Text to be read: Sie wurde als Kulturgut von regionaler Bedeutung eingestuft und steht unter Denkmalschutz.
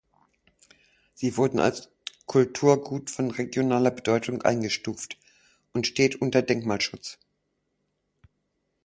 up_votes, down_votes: 1, 4